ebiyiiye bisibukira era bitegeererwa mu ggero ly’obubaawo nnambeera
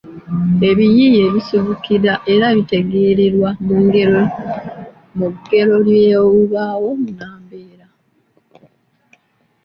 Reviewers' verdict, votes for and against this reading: rejected, 1, 2